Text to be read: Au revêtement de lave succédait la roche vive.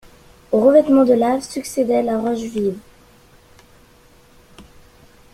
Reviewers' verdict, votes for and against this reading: accepted, 2, 0